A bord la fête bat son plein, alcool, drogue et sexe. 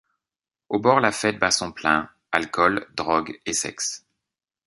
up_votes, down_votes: 0, 2